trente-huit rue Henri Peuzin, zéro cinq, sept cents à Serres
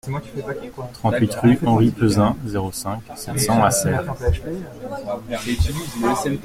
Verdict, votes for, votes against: rejected, 0, 2